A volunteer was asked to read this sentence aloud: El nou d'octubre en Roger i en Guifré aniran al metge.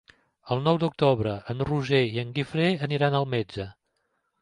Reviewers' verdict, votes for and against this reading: accepted, 2, 0